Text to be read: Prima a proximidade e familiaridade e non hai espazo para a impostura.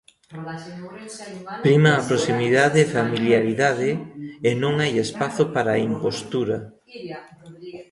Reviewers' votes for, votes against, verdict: 1, 2, rejected